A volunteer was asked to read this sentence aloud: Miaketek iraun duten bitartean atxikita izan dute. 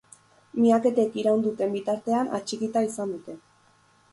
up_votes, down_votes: 4, 0